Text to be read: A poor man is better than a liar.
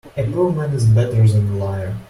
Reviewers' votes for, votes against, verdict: 2, 1, accepted